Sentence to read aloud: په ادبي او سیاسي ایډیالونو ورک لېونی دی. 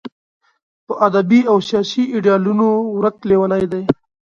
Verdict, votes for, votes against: accepted, 2, 0